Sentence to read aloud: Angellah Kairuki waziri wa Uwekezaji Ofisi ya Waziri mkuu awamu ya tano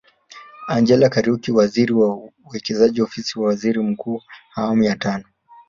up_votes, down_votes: 1, 2